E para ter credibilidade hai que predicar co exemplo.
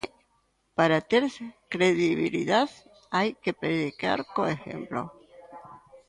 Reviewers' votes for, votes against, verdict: 0, 2, rejected